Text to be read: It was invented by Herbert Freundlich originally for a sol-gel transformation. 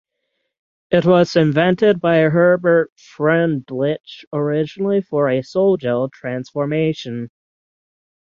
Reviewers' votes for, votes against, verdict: 0, 6, rejected